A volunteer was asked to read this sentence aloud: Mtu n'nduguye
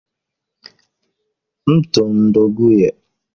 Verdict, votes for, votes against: rejected, 0, 2